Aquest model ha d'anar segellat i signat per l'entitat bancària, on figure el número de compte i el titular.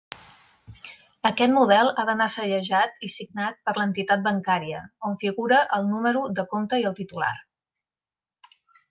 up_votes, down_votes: 0, 2